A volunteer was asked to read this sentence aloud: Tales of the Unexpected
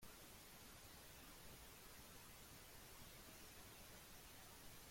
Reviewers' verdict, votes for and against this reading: rejected, 0, 2